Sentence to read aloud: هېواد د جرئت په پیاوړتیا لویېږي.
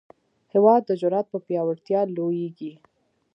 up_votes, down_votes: 0, 2